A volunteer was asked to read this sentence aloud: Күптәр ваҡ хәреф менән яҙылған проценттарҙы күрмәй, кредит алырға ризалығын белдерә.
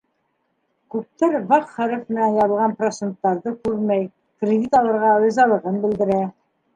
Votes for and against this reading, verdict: 2, 1, accepted